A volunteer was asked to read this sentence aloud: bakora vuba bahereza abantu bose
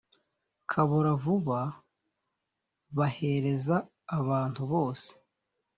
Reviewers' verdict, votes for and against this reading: rejected, 1, 2